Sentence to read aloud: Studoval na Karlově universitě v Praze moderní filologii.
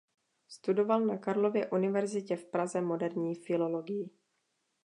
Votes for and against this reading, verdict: 2, 0, accepted